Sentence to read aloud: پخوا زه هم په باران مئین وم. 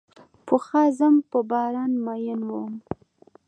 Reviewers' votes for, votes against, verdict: 2, 0, accepted